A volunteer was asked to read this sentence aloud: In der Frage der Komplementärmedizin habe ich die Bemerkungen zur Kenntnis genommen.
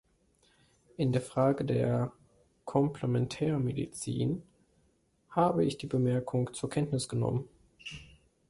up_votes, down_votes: 2, 3